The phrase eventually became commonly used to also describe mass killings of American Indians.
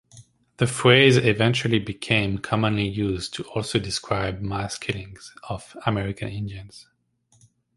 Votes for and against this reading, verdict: 2, 0, accepted